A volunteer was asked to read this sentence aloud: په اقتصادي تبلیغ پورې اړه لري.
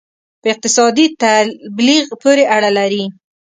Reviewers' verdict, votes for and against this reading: rejected, 1, 2